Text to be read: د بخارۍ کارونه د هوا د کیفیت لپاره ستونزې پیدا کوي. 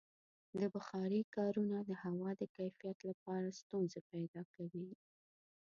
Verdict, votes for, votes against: rejected, 1, 2